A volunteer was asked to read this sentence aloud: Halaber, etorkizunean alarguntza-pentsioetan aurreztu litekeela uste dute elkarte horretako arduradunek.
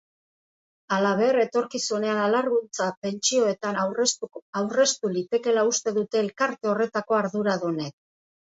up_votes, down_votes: 1, 2